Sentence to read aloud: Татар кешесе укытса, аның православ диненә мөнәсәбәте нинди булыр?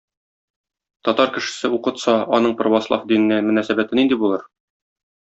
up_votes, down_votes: 2, 0